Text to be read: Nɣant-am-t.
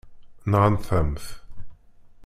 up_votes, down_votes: 1, 2